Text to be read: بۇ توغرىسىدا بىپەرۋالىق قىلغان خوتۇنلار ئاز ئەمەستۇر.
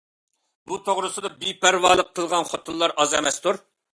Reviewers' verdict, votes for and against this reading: accepted, 2, 0